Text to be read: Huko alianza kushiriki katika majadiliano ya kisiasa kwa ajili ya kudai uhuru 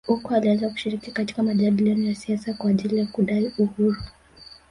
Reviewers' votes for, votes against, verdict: 2, 0, accepted